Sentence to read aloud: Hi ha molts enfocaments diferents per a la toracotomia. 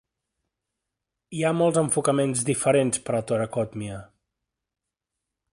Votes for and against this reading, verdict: 0, 2, rejected